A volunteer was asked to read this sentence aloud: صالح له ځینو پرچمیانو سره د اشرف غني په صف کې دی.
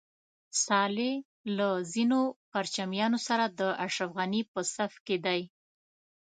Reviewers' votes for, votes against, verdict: 2, 0, accepted